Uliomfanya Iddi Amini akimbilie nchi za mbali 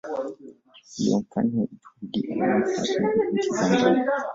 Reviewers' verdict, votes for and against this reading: rejected, 0, 2